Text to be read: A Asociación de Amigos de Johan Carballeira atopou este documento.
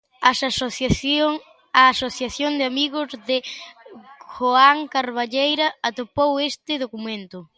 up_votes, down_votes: 0, 2